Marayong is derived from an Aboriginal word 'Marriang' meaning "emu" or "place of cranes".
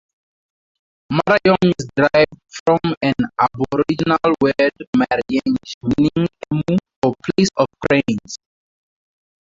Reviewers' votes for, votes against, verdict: 2, 2, rejected